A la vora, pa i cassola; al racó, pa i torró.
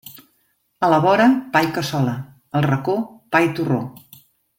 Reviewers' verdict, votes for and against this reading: accepted, 2, 0